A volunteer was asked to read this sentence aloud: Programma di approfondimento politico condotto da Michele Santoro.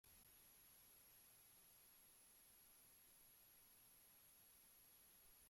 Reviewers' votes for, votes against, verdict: 0, 2, rejected